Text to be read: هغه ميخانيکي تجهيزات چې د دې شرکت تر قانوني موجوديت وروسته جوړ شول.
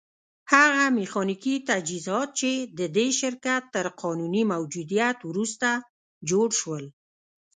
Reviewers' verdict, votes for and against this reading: rejected, 0, 2